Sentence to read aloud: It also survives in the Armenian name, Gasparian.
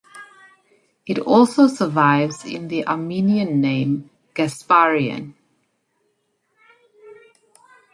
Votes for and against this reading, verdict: 2, 0, accepted